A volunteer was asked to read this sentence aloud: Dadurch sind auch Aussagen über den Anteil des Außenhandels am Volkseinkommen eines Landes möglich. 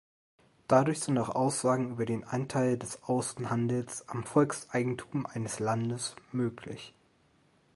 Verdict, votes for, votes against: rejected, 1, 3